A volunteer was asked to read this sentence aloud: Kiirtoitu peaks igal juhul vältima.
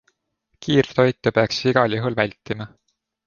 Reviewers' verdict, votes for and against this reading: accepted, 2, 0